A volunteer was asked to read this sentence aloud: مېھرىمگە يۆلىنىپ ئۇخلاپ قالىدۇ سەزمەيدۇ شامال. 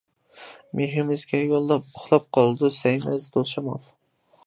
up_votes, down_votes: 0, 2